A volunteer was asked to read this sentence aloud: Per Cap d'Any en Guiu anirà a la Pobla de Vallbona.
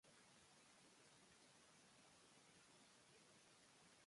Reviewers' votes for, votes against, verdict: 1, 2, rejected